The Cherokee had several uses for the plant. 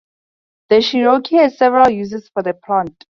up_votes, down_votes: 2, 0